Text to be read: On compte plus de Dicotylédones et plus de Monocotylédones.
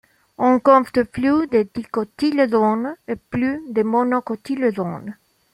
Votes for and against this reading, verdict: 1, 2, rejected